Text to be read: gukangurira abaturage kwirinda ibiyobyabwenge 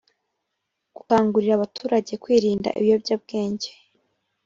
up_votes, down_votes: 2, 0